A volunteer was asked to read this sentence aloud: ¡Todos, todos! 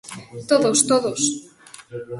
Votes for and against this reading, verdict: 2, 0, accepted